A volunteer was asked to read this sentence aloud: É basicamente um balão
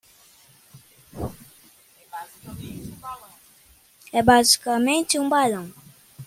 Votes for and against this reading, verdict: 1, 2, rejected